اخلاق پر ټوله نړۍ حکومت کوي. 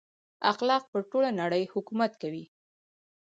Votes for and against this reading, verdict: 0, 2, rejected